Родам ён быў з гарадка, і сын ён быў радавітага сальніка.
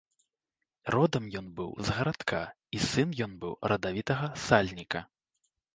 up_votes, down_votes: 2, 0